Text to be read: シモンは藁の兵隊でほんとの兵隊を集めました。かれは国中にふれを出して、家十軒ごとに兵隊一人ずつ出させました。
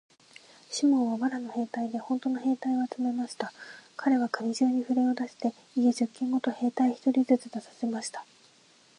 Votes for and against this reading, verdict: 32, 5, accepted